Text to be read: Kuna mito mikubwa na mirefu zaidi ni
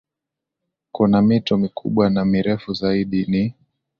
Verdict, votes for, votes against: accepted, 2, 0